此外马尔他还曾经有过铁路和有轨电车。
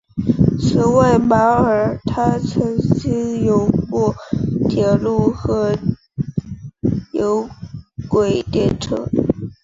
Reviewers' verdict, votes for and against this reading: rejected, 2, 3